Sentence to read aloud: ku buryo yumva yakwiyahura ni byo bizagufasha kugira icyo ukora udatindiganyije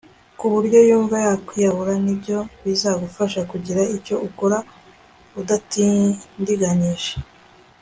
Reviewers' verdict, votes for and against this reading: accepted, 2, 0